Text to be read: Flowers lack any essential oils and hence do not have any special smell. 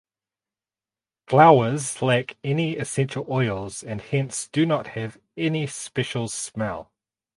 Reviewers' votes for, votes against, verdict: 4, 0, accepted